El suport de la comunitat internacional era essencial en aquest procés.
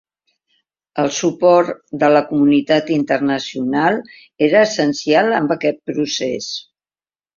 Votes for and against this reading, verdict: 2, 1, accepted